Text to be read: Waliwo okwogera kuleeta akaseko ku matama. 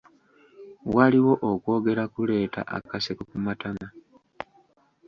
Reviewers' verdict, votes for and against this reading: rejected, 0, 2